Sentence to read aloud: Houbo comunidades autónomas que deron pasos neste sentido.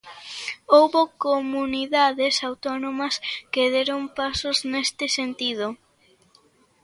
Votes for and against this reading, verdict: 2, 0, accepted